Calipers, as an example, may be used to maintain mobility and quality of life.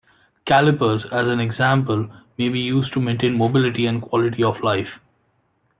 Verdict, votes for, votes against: accepted, 2, 0